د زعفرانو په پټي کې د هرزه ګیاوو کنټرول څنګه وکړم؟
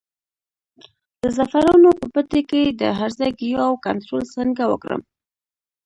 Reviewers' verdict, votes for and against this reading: accepted, 2, 1